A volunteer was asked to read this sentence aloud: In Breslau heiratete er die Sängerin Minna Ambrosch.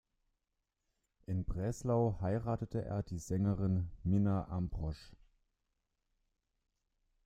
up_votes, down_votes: 2, 1